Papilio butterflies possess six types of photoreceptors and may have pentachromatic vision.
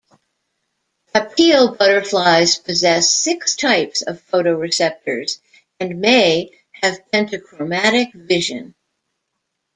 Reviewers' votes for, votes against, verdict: 2, 1, accepted